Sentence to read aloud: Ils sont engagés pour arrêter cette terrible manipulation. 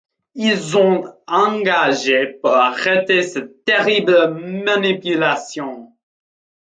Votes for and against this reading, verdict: 1, 3, rejected